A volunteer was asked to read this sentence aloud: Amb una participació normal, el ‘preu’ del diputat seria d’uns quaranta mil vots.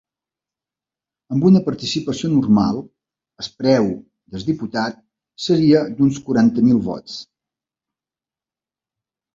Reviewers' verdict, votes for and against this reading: rejected, 2, 3